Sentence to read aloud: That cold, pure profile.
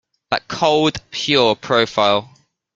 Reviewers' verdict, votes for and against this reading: accepted, 2, 0